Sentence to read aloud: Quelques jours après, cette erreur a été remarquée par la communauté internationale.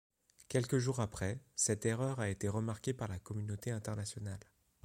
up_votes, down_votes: 2, 0